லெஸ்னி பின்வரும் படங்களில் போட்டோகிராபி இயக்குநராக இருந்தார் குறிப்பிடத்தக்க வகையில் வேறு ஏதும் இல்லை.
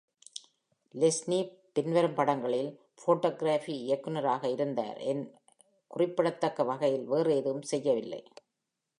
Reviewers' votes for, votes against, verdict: 0, 2, rejected